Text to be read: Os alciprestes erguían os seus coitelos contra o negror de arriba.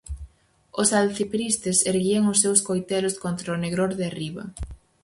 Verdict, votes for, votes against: rejected, 0, 4